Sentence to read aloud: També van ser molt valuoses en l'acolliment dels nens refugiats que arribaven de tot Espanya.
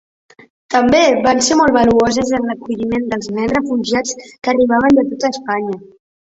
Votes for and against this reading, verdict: 1, 3, rejected